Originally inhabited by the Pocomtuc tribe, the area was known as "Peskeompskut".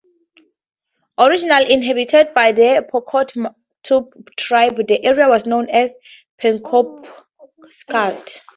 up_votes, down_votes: 0, 2